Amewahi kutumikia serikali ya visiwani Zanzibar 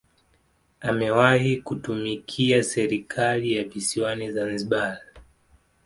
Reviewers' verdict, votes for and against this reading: accepted, 2, 0